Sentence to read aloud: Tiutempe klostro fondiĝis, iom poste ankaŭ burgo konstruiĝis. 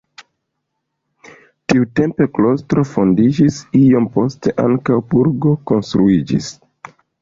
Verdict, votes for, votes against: accepted, 2, 1